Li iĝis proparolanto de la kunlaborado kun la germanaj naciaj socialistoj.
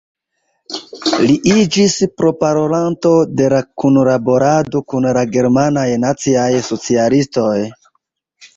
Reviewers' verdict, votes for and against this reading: rejected, 1, 2